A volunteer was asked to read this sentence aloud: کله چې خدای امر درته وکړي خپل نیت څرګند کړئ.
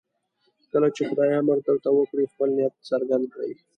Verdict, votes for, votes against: accepted, 2, 0